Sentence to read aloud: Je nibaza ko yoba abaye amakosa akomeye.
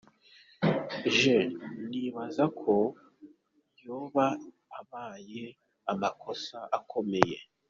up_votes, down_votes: 2, 1